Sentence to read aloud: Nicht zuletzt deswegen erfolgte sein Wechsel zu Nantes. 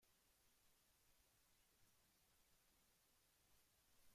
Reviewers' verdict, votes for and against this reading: rejected, 0, 2